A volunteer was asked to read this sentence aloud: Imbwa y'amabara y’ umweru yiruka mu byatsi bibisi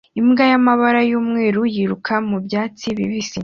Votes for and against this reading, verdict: 2, 0, accepted